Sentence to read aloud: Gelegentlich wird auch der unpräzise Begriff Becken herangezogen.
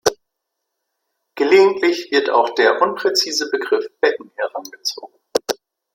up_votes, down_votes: 2, 0